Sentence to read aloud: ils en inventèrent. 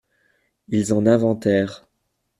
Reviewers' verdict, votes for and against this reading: accepted, 2, 0